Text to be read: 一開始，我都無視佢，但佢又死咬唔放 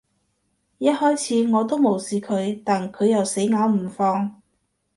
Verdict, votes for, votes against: accepted, 2, 0